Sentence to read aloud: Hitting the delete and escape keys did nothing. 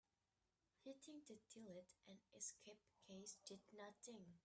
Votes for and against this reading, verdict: 1, 2, rejected